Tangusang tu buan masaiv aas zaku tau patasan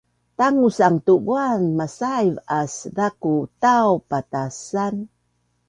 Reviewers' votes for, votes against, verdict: 2, 0, accepted